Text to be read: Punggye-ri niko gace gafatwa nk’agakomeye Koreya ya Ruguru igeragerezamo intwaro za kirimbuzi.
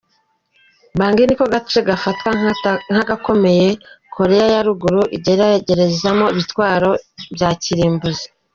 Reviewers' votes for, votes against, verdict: 2, 3, rejected